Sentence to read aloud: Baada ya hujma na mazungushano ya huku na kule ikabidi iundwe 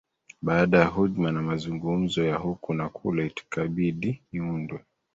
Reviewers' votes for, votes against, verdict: 0, 2, rejected